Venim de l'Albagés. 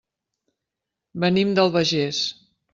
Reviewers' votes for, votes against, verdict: 1, 2, rejected